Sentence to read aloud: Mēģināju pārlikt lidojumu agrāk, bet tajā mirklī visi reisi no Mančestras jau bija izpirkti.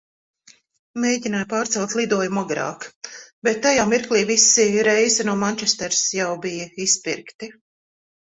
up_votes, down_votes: 0, 2